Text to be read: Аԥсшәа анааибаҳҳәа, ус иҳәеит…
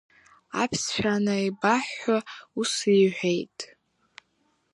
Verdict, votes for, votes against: accepted, 2, 0